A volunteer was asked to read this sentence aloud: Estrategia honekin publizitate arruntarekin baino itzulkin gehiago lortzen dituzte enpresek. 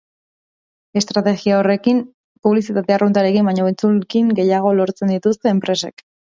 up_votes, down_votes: 0, 2